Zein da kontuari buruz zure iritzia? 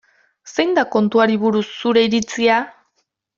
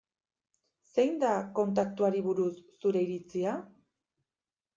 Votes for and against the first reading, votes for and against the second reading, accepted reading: 2, 0, 1, 2, first